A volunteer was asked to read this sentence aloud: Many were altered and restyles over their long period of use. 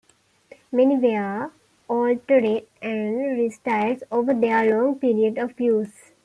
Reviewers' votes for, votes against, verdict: 1, 2, rejected